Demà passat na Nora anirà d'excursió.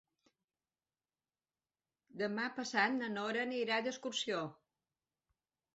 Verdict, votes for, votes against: rejected, 1, 2